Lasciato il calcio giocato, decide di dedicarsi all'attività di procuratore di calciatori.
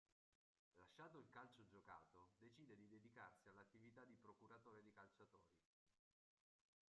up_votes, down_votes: 0, 2